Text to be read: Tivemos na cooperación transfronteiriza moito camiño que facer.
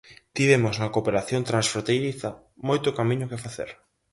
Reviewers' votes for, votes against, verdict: 4, 0, accepted